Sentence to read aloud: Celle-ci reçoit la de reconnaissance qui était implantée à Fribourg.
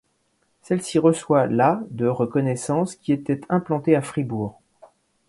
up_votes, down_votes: 2, 0